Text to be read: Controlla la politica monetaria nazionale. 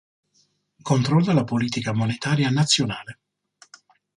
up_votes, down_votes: 2, 0